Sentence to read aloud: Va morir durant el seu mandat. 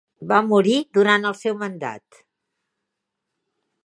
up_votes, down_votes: 3, 0